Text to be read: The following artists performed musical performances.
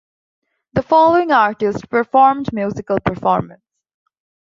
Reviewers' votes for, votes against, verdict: 0, 2, rejected